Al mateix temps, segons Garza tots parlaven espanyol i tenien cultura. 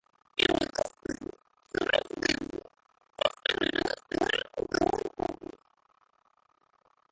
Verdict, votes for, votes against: rejected, 0, 2